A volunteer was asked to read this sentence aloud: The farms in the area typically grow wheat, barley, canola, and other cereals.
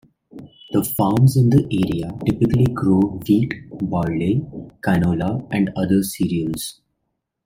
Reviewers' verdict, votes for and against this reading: accepted, 2, 0